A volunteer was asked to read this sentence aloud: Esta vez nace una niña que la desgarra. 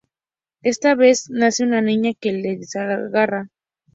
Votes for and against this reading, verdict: 0, 2, rejected